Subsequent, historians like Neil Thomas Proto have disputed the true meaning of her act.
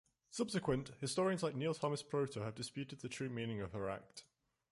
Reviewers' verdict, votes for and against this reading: rejected, 1, 2